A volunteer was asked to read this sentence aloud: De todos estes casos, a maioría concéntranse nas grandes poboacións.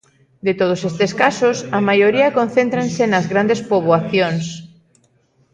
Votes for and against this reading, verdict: 2, 0, accepted